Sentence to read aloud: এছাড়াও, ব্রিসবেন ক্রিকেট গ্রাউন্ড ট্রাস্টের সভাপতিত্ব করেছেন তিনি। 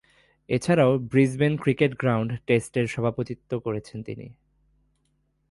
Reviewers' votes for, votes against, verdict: 1, 2, rejected